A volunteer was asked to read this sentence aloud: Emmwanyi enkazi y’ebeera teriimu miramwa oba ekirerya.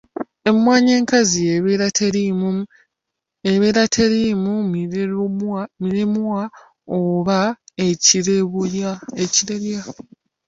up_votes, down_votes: 0, 2